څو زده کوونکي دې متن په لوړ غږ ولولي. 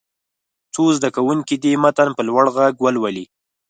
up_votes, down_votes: 6, 0